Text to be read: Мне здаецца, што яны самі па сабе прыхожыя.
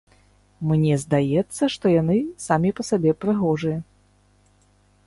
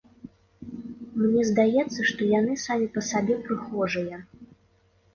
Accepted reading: second